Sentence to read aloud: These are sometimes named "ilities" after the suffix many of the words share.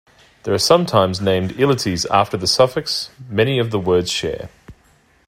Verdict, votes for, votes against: accepted, 2, 1